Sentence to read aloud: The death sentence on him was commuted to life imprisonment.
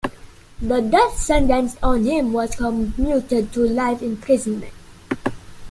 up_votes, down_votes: 2, 0